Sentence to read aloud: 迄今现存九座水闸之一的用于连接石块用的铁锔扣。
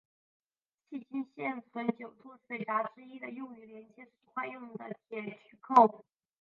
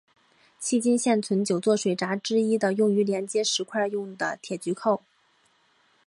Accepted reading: second